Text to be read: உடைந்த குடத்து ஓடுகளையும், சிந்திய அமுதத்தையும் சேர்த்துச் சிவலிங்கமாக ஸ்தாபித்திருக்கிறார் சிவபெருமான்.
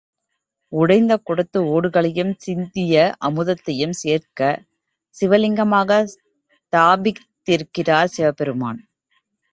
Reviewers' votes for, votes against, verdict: 2, 3, rejected